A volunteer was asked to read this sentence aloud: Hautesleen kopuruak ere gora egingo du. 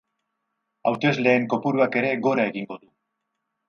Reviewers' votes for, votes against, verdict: 2, 4, rejected